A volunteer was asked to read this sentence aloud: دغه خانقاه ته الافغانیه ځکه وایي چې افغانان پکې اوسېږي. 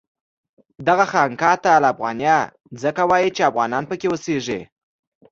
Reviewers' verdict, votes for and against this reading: accepted, 2, 0